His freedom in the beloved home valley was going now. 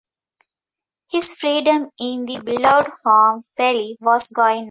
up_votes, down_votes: 0, 2